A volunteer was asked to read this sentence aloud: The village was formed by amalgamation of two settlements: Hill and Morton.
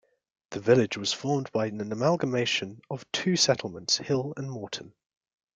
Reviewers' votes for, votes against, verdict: 1, 2, rejected